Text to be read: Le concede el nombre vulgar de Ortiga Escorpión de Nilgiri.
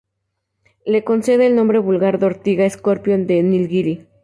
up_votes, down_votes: 2, 0